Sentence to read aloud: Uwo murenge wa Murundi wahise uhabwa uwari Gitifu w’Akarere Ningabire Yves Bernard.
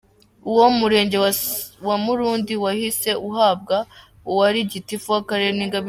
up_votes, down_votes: 0, 2